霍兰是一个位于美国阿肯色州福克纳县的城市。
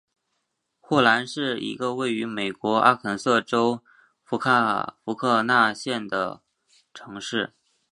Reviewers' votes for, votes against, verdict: 2, 3, rejected